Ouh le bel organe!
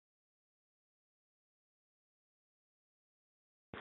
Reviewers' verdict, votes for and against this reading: rejected, 0, 2